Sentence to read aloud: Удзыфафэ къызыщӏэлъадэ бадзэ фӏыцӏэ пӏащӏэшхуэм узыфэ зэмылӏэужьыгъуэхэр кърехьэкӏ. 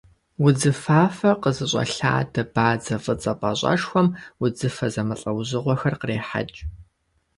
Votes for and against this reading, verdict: 2, 0, accepted